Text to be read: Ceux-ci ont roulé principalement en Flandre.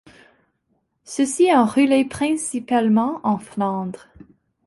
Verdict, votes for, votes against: rejected, 1, 2